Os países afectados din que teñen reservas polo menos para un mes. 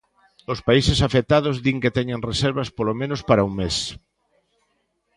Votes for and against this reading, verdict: 3, 0, accepted